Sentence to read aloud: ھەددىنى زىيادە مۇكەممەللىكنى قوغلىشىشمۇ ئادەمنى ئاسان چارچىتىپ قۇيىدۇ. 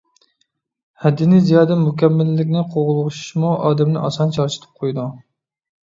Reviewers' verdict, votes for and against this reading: rejected, 1, 2